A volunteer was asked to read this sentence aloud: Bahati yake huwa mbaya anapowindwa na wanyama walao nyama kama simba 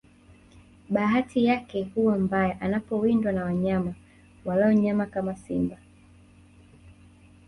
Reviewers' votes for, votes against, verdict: 1, 2, rejected